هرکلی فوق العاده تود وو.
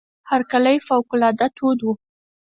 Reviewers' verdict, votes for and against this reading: accepted, 4, 0